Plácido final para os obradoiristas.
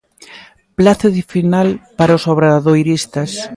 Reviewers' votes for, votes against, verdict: 2, 0, accepted